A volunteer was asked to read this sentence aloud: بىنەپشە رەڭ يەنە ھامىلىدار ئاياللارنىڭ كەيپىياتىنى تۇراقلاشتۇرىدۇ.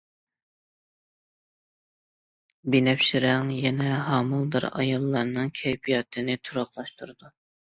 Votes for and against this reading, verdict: 2, 0, accepted